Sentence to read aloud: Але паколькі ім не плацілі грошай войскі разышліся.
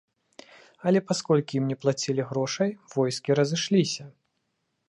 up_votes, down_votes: 0, 2